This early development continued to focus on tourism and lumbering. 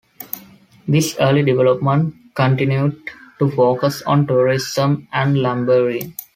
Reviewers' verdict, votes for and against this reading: accepted, 2, 0